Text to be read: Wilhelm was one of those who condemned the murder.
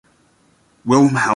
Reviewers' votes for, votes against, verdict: 0, 3, rejected